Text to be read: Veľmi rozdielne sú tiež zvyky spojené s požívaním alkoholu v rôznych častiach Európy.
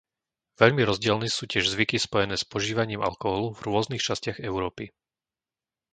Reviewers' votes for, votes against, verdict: 0, 2, rejected